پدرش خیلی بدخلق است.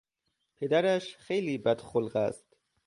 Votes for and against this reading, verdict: 2, 0, accepted